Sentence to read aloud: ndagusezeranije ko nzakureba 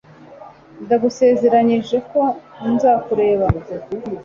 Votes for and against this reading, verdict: 2, 0, accepted